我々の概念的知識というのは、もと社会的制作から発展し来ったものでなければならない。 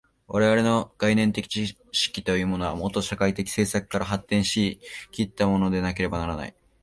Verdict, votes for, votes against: rejected, 2, 3